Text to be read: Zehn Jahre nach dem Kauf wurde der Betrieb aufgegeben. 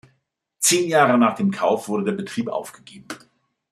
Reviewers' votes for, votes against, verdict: 2, 0, accepted